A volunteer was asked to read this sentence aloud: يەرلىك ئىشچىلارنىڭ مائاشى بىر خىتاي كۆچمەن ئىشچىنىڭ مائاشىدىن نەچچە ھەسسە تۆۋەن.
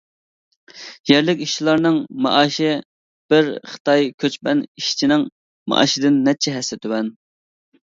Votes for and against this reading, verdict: 2, 0, accepted